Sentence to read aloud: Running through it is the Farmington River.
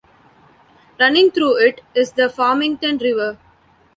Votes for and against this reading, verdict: 2, 0, accepted